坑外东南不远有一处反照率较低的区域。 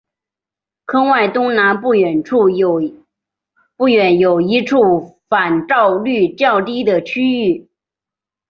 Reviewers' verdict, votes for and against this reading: accepted, 2, 1